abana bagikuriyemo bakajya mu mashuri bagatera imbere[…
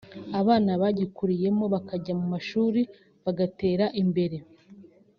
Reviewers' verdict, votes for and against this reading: accepted, 2, 0